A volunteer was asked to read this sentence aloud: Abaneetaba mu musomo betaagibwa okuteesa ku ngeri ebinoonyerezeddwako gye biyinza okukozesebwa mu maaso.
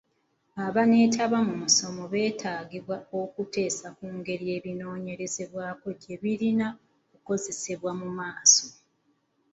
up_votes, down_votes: 1, 2